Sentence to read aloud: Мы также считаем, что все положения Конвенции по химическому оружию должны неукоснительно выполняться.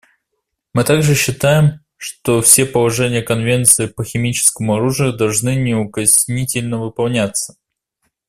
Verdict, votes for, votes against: accepted, 2, 0